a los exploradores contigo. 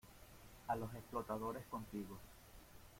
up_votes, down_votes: 1, 2